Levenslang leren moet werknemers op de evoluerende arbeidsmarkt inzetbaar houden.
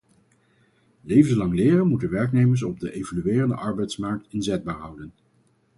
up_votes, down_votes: 0, 4